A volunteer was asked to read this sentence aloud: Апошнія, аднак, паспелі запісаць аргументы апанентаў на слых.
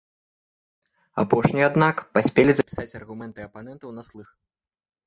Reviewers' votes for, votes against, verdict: 2, 3, rejected